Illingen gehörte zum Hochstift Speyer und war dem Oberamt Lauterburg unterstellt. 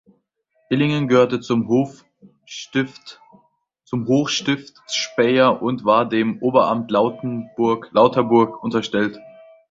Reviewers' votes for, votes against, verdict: 0, 2, rejected